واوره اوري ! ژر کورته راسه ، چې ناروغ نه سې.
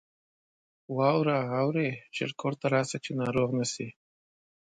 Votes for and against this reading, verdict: 1, 2, rejected